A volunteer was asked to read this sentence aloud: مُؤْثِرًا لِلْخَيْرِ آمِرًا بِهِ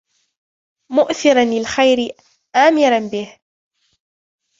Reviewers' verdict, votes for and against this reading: accepted, 2, 0